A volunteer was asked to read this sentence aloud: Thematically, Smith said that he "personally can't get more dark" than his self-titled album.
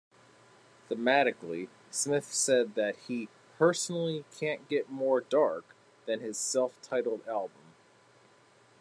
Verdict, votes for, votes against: accepted, 2, 0